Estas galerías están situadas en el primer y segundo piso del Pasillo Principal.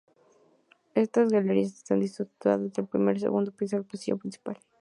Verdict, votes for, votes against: rejected, 0, 2